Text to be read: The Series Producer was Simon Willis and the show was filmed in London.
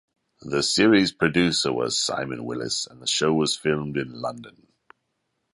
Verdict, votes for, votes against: accepted, 2, 0